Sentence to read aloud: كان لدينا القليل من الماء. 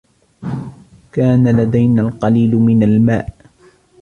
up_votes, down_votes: 1, 2